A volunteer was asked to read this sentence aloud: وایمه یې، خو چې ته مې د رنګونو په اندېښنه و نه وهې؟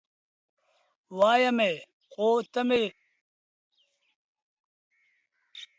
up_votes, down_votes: 0, 2